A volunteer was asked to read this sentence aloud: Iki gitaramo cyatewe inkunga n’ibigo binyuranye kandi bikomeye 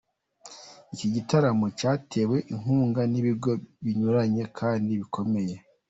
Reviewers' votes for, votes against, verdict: 2, 0, accepted